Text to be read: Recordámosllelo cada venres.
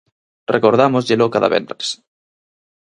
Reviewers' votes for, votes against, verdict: 4, 0, accepted